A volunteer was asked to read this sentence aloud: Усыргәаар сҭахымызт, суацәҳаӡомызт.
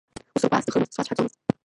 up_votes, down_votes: 0, 2